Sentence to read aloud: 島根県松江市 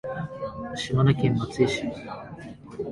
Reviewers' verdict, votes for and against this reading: accepted, 2, 0